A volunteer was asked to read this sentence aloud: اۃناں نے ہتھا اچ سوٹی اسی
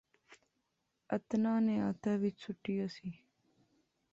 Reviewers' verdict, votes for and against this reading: rejected, 1, 2